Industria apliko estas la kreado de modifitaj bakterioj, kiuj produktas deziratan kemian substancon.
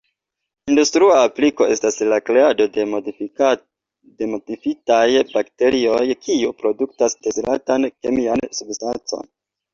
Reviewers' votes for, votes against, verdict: 0, 2, rejected